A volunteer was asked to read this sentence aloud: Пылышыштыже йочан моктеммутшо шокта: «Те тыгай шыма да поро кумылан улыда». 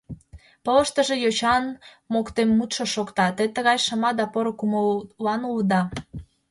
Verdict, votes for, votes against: rejected, 1, 2